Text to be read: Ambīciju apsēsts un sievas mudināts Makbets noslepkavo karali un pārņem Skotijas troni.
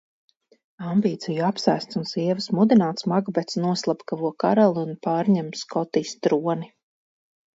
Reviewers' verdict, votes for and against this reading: accepted, 4, 0